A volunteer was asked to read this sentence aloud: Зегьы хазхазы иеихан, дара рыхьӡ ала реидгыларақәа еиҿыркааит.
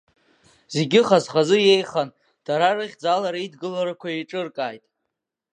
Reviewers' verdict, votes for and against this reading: rejected, 1, 2